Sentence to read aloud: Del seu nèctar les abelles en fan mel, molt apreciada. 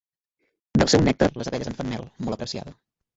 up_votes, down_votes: 1, 3